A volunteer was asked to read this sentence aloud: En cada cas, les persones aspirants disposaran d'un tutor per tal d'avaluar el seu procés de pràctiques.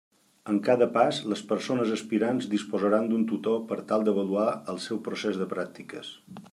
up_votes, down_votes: 1, 2